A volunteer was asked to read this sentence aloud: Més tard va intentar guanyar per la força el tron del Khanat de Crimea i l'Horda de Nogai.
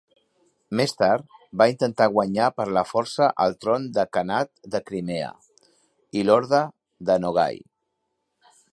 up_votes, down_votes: 0, 2